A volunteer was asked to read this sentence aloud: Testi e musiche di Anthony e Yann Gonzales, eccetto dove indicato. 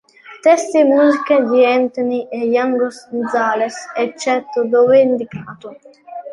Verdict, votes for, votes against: rejected, 1, 2